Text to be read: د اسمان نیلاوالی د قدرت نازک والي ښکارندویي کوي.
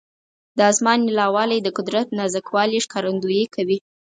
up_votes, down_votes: 4, 0